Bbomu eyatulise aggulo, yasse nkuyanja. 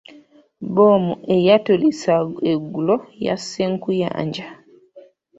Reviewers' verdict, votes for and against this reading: rejected, 0, 2